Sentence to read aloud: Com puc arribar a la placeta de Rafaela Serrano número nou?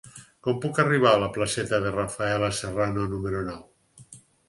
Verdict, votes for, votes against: accepted, 6, 0